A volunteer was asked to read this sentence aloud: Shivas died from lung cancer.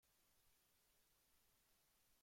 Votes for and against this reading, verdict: 0, 2, rejected